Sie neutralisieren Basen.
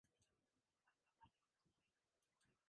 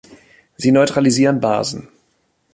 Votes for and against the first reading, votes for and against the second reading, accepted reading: 0, 2, 2, 0, second